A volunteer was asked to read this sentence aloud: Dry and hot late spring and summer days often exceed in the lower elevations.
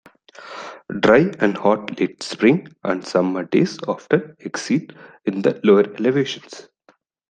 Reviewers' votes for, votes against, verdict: 1, 2, rejected